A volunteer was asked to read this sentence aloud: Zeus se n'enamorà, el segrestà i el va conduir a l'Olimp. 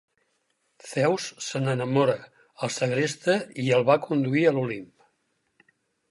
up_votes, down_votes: 4, 6